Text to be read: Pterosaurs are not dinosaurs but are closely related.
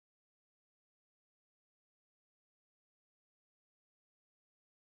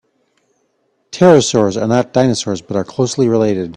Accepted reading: second